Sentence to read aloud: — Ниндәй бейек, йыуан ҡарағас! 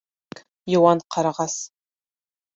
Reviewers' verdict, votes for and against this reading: rejected, 0, 2